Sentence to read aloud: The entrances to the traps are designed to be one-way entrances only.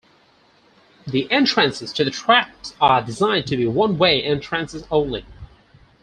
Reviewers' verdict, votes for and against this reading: accepted, 4, 2